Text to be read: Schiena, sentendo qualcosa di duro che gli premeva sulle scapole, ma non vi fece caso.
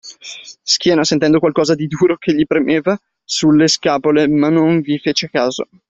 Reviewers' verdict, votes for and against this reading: rejected, 0, 2